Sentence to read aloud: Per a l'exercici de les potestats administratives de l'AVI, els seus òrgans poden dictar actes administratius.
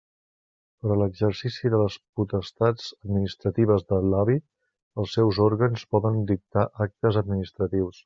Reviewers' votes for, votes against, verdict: 2, 0, accepted